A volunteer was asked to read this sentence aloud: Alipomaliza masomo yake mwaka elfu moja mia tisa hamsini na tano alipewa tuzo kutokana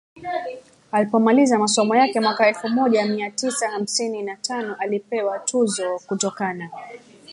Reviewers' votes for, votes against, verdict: 0, 3, rejected